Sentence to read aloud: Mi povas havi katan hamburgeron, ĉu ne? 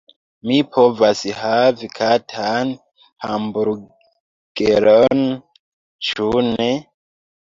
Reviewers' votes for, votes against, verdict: 1, 2, rejected